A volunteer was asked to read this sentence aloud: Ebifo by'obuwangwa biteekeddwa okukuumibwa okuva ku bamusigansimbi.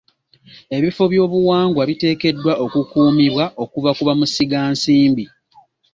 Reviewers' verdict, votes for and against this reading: accepted, 2, 0